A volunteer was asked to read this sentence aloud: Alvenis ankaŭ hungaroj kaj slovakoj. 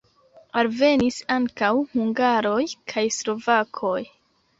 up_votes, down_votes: 2, 1